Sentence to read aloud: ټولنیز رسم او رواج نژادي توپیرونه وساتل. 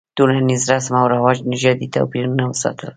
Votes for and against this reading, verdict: 2, 1, accepted